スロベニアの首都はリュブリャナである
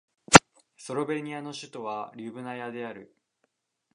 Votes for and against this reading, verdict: 1, 2, rejected